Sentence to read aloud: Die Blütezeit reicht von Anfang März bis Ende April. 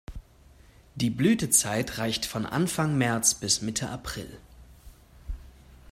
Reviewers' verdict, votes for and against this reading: rejected, 1, 2